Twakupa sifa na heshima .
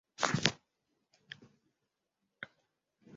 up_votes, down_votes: 0, 2